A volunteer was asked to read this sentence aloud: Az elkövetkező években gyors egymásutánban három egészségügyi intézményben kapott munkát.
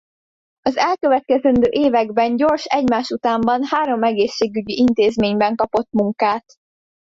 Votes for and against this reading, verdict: 0, 2, rejected